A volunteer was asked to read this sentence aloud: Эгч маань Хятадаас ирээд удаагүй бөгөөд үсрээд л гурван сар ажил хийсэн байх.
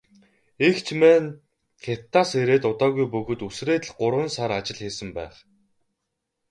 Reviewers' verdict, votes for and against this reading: rejected, 2, 2